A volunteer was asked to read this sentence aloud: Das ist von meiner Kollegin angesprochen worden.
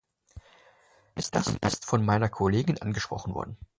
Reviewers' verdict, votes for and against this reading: rejected, 0, 2